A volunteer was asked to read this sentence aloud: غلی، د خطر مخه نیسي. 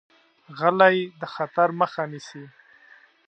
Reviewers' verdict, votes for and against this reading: accepted, 2, 0